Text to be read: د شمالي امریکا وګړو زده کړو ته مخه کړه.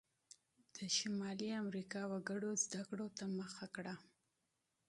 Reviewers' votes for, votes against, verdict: 2, 0, accepted